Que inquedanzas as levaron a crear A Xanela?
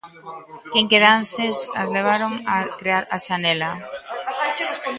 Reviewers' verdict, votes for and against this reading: rejected, 0, 2